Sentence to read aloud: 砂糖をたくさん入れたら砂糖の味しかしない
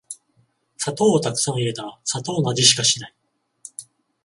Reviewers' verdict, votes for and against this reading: accepted, 14, 0